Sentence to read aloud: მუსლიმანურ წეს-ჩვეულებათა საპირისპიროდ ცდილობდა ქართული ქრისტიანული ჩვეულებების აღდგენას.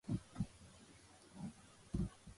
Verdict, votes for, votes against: rejected, 0, 2